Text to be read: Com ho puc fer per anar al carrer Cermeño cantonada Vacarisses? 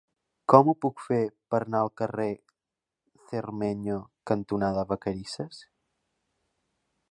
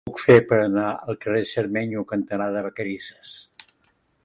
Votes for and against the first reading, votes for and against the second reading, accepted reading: 2, 1, 1, 2, first